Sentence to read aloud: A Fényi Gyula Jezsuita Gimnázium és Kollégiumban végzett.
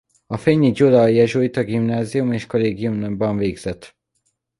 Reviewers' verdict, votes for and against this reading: rejected, 0, 2